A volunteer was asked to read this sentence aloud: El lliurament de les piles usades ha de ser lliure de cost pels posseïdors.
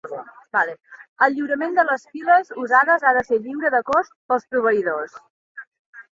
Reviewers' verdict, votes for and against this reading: rejected, 0, 2